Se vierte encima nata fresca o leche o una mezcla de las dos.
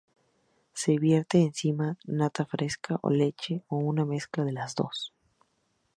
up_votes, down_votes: 2, 0